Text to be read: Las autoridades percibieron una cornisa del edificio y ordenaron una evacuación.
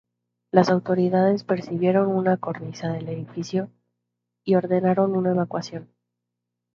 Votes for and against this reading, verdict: 2, 0, accepted